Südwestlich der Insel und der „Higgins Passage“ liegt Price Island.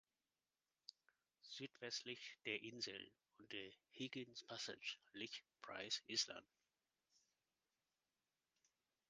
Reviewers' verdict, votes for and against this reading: rejected, 0, 2